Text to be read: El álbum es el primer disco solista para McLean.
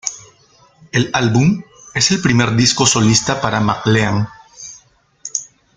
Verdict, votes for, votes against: rejected, 0, 2